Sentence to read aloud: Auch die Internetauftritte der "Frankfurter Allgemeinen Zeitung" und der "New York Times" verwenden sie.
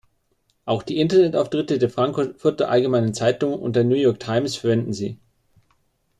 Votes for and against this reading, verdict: 0, 2, rejected